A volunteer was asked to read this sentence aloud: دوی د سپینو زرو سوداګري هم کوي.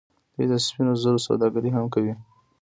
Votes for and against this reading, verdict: 2, 0, accepted